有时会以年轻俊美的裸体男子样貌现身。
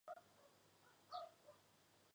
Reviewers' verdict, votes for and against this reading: rejected, 0, 4